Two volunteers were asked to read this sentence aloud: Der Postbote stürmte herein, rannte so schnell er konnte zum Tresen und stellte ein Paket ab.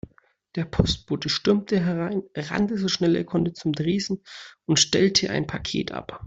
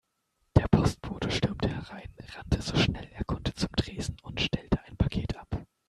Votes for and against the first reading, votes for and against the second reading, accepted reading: 2, 0, 1, 2, first